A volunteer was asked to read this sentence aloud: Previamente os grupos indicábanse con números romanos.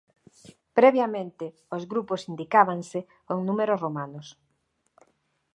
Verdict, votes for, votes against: accepted, 2, 1